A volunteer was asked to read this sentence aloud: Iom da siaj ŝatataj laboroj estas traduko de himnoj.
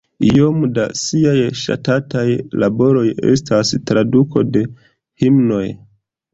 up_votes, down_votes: 2, 0